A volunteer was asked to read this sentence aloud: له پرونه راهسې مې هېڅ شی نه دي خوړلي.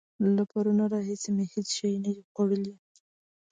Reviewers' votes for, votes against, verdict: 2, 0, accepted